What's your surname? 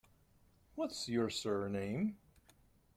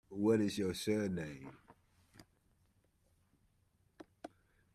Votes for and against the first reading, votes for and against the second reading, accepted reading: 2, 0, 0, 2, first